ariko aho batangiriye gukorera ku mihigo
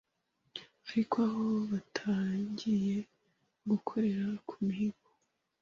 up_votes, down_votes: 2, 0